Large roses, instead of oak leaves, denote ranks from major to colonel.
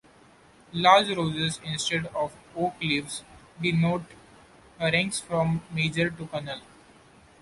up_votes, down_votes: 2, 0